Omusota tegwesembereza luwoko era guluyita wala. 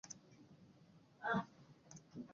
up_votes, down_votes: 0, 2